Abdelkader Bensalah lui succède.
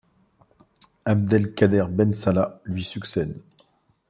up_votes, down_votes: 2, 0